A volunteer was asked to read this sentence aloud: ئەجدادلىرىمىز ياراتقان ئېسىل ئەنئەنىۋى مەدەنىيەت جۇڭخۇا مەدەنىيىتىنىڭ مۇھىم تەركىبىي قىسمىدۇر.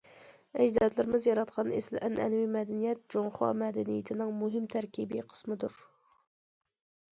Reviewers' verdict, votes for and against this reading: accepted, 2, 0